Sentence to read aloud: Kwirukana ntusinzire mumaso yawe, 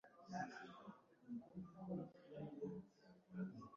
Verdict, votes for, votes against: rejected, 1, 4